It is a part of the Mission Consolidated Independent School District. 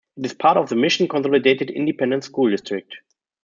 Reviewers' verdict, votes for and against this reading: rejected, 1, 2